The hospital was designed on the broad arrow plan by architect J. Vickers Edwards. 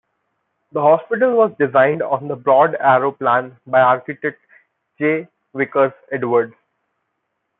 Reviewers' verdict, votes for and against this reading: rejected, 0, 2